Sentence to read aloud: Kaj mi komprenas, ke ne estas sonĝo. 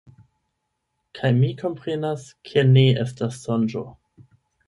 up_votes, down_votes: 8, 4